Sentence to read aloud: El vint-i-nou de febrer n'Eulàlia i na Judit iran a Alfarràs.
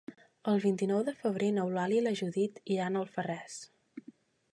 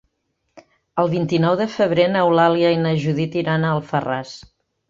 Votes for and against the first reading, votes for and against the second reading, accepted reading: 1, 2, 3, 0, second